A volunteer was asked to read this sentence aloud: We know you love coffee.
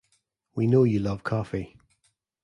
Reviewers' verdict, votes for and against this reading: accepted, 2, 0